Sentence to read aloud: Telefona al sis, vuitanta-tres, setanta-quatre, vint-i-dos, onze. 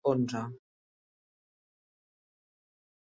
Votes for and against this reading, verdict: 0, 2, rejected